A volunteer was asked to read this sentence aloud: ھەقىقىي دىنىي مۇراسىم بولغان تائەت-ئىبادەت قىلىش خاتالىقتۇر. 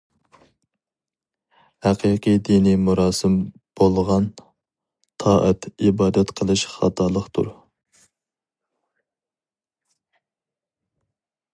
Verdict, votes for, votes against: accepted, 2, 0